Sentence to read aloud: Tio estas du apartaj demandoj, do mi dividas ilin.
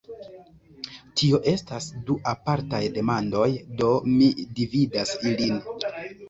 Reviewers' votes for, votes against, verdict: 0, 3, rejected